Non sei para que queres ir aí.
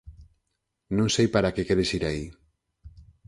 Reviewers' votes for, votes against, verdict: 4, 0, accepted